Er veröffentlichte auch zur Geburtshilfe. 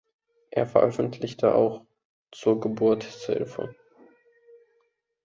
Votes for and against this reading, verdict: 0, 2, rejected